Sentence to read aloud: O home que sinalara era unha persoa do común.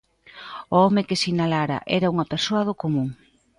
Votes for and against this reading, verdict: 2, 0, accepted